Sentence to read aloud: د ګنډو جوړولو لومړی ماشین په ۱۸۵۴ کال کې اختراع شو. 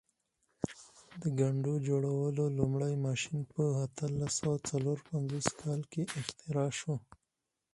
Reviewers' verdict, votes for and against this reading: rejected, 0, 2